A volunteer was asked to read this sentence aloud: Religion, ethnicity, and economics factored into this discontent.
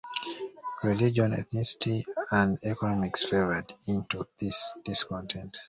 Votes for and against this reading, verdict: 1, 2, rejected